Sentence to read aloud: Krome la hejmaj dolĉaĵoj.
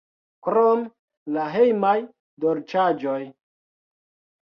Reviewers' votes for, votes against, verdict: 0, 2, rejected